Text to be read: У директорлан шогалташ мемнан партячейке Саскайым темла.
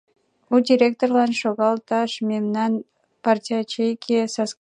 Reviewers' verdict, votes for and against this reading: rejected, 1, 2